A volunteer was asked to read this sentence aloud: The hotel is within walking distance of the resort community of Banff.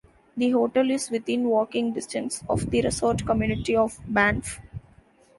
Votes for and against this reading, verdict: 2, 0, accepted